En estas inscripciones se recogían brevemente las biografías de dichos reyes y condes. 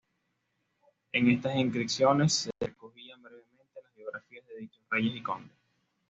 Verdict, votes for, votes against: rejected, 1, 2